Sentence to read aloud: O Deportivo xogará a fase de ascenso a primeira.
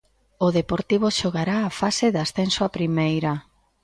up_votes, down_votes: 2, 0